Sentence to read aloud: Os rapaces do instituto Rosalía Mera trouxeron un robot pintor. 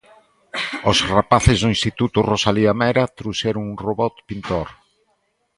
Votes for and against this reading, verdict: 2, 0, accepted